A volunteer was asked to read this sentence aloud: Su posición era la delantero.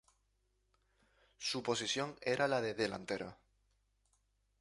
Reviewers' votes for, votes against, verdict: 2, 0, accepted